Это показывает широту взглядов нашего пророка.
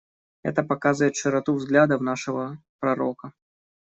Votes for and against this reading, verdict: 2, 1, accepted